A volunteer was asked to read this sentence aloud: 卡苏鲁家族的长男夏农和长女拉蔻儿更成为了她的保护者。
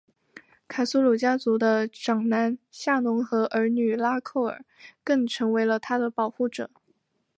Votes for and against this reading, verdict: 1, 2, rejected